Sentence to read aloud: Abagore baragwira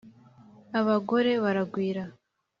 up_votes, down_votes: 2, 0